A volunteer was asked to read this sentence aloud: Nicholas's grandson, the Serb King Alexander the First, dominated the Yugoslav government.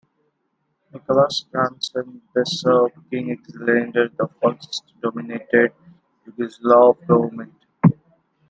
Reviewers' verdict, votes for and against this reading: accepted, 2, 1